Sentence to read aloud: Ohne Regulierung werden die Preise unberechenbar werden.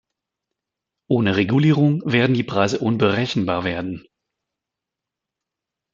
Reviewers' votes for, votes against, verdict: 2, 0, accepted